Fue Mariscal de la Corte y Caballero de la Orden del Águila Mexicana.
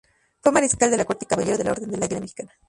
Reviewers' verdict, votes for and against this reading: rejected, 0, 2